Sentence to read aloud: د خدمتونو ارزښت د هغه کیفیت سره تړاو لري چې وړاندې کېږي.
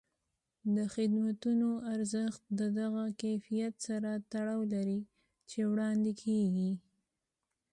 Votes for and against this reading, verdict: 2, 0, accepted